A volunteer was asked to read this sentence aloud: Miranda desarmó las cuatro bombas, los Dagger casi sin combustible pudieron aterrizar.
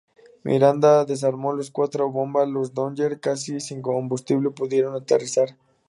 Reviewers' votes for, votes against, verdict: 2, 2, rejected